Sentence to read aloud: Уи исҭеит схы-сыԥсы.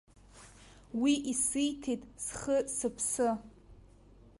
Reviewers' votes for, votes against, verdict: 0, 2, rejected